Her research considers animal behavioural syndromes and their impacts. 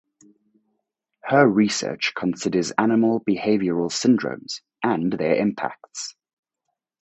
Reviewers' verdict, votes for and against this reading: accepted, 4, 0